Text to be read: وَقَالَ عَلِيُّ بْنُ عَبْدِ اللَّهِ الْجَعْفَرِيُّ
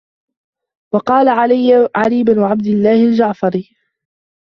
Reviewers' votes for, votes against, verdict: 0, 2, rejected